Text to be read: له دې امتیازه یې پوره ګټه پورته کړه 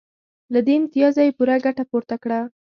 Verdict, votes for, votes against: accepted, 2, 0